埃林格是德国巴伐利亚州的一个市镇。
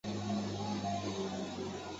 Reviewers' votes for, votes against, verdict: 0, 2, rejected